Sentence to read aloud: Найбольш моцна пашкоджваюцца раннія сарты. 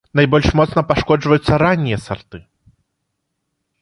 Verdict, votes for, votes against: accepted, 2, 0